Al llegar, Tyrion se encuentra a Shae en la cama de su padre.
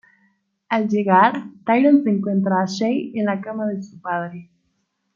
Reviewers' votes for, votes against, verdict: 2, 0, accepted